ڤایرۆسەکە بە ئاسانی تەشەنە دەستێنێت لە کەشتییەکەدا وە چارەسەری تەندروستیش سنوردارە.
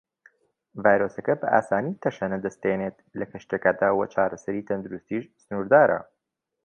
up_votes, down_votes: 2, 0